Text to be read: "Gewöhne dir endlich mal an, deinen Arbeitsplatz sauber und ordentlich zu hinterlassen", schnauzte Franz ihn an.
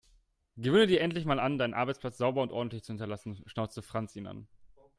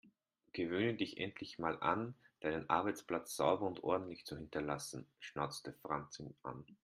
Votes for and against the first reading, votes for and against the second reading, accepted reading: 2, 0, 1, 2, first